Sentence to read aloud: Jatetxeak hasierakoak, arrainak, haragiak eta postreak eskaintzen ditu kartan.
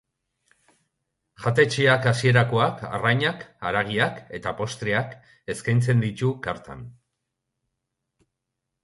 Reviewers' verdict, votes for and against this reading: accepted, 2, 0